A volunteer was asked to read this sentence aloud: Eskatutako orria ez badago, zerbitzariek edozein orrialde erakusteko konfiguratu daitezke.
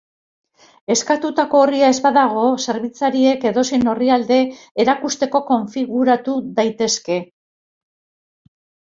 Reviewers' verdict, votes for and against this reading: accepted, 2, 1